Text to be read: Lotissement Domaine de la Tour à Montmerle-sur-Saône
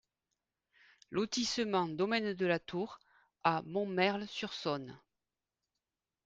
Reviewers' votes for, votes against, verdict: 2, 0, accepted